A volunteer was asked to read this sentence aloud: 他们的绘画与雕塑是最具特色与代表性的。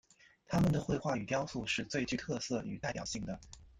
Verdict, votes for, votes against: rejected, 0, 2